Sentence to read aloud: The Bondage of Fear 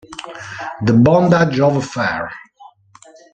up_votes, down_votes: 0, 2